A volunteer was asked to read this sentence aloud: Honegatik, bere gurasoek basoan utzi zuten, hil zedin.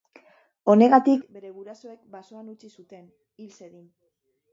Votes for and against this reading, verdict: 0, 2, rejected